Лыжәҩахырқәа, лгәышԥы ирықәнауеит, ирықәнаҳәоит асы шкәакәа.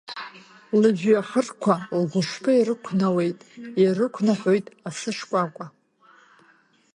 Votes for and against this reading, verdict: 2, 0, accepted